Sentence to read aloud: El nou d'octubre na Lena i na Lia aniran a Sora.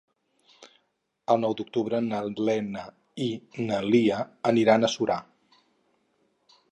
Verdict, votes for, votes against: rejected, 2, 2